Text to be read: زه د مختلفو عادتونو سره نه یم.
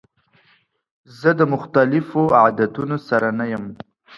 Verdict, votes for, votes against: accepted, 2, 0